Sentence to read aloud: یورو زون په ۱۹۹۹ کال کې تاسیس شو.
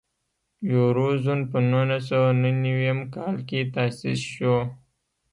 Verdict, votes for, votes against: rejected, 0, 2